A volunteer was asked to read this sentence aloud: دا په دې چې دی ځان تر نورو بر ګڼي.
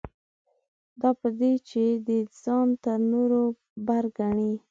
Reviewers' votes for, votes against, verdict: 2, 0, accepted